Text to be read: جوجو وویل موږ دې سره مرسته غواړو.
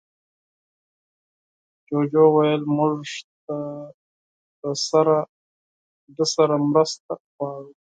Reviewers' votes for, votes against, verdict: 2, 4, rejected